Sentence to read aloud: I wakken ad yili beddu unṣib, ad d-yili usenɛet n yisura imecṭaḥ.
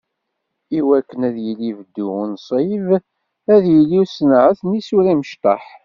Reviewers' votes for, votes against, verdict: 2, 1, accepted